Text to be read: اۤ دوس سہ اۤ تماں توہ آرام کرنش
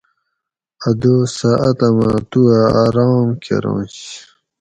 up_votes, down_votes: 2, 2